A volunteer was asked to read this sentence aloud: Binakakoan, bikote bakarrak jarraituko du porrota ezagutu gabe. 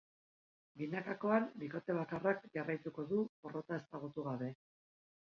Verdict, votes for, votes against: rejected, 1, 2